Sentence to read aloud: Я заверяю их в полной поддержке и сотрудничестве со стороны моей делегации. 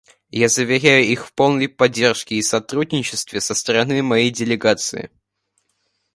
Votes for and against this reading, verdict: 2, 0, accepted